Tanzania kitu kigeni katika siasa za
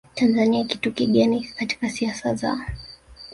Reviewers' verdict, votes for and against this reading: accepted, 3, 0